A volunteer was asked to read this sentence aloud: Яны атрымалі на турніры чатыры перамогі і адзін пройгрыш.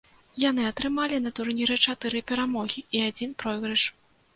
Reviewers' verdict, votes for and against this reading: accepted, 2, 0